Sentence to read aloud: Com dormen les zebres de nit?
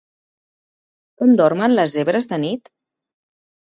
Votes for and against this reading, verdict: 2, 0, accepted